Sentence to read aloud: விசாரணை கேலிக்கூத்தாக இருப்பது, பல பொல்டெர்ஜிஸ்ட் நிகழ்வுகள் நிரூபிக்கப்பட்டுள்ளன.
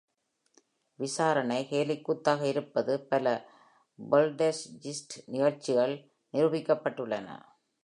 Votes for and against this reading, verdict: 1, 2, rejected